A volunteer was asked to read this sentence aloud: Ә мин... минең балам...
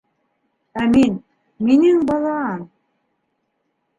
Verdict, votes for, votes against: accepted, 2, 0